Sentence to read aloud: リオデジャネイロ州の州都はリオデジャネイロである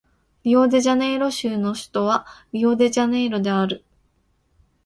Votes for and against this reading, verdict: 2, 0, accepted